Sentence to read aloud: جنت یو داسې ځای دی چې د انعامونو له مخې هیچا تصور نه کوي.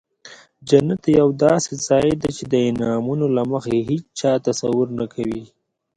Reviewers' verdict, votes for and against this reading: accepted, 2, 1